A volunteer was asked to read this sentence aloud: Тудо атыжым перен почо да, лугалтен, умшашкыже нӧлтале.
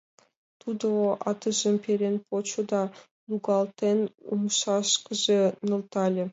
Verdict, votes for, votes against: rejected, 1, 3